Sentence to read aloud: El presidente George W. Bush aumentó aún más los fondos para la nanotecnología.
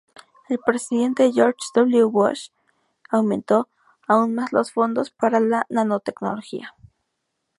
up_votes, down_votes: 0, 2